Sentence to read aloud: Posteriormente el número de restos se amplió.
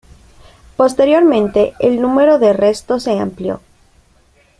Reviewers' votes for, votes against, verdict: 2, 0, accepted